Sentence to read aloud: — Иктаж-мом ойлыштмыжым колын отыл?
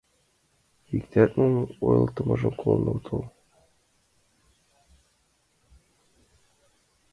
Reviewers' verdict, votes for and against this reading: rejected, 0, 2